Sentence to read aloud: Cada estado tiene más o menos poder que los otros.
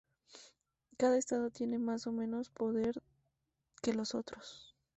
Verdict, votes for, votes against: accepted, 2, 0